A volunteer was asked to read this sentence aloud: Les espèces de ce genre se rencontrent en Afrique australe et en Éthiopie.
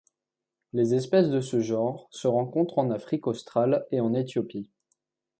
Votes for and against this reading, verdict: 2, 0, accepted